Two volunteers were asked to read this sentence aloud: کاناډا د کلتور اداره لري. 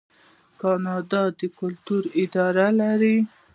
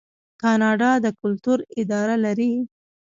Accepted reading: first